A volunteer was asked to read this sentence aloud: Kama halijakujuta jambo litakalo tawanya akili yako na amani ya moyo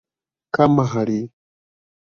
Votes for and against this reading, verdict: 1, 2, rejected